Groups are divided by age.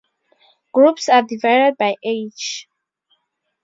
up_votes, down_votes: 0, 2